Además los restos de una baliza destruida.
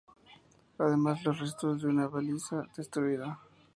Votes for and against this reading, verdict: 0, 2, rejected